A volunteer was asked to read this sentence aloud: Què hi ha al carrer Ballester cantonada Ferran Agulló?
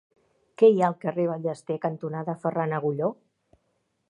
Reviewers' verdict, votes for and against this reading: accepted, 2, 0